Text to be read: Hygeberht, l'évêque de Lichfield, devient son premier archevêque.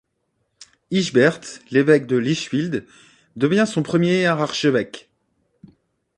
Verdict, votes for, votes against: rejected, 0, 2